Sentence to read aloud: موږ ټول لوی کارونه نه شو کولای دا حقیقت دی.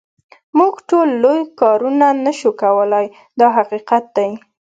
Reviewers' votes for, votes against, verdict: 2, 0, accepted